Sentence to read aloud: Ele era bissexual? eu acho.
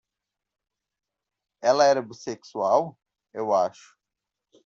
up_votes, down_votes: 0, 2